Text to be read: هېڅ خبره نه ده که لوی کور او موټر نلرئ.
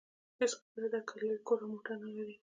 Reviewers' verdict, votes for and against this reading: accepted, 2, 0